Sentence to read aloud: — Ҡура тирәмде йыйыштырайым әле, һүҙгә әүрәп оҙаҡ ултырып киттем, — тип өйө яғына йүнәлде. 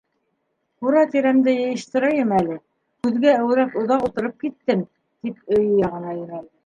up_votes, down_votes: 0, 2